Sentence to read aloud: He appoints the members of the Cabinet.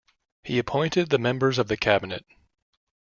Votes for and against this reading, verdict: 0, 2, rejected